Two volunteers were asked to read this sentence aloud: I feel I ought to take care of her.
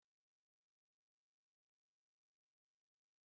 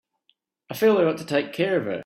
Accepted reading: second